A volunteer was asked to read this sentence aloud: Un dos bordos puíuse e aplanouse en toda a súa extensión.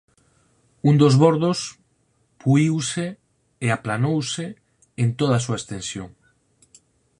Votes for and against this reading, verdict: 12, 0, accepted